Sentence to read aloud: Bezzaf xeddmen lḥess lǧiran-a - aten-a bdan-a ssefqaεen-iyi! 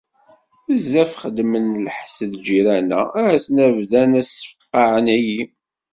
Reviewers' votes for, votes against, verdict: 2, 0, accepted